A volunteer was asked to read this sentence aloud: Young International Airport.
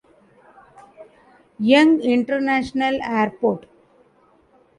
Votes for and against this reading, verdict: 2, 1, accepted